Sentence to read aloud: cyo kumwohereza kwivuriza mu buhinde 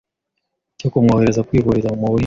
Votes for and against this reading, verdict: 0, 2, rejected